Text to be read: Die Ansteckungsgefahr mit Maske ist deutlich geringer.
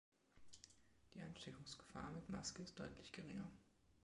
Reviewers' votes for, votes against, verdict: 3, 1, accepted